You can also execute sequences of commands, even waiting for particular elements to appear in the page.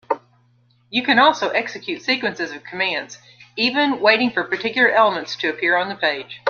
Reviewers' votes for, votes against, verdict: 2, 1, accepted